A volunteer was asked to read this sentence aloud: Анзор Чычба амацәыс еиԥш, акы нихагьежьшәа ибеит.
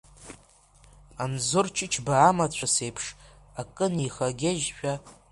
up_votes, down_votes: 0, 2